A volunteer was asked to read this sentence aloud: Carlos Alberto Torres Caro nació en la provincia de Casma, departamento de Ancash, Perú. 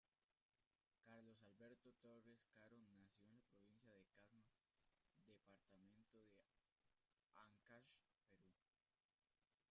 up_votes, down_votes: 0, 2